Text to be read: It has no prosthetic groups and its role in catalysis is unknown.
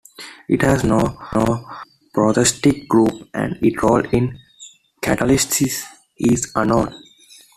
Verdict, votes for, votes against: rejected, 1, 2